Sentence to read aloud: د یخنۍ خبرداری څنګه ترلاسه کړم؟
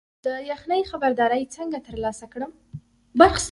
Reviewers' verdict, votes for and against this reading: accepted, 2, 1